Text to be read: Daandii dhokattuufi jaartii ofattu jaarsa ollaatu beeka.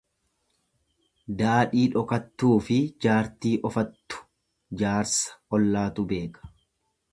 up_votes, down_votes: 0, 2